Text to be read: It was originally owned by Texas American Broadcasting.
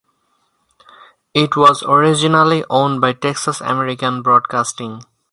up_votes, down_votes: 4, 0